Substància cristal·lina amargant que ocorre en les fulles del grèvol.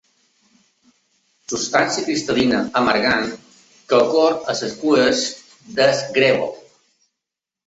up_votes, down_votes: 2, 0